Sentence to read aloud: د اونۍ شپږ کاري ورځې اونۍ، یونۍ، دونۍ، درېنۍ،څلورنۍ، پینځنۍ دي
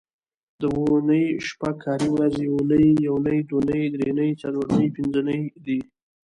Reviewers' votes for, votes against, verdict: 2, 0, accepted